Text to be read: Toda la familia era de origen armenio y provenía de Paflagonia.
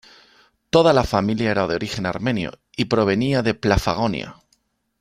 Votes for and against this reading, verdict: 0, 2, rejected